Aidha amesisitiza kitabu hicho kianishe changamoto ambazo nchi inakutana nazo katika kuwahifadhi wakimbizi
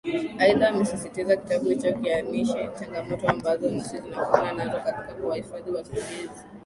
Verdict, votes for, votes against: accepted, 2, 0